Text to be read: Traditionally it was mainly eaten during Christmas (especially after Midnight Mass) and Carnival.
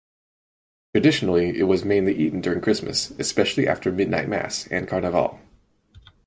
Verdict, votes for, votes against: accepted, 4, 0